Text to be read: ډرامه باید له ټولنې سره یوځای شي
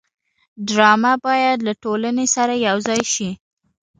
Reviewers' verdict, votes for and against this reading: accepted, 2, 0